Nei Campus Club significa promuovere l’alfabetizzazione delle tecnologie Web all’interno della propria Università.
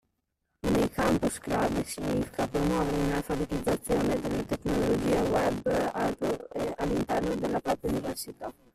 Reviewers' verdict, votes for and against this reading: rejected, 0, 2